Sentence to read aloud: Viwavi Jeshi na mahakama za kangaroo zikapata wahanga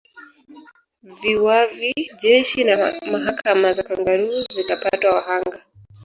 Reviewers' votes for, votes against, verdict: 2, 3, rejected